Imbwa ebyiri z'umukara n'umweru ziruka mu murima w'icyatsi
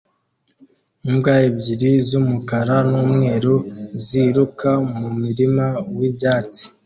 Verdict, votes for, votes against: accepted, 2, 0